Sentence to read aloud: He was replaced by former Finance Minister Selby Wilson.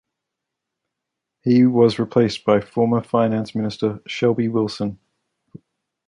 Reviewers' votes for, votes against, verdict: 2, 1, accepted